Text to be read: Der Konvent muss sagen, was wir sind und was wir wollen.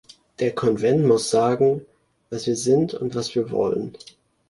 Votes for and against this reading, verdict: 2, 0, accepted